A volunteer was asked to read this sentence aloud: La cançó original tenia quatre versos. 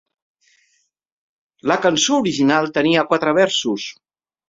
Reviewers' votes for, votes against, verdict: 3, 0, accepted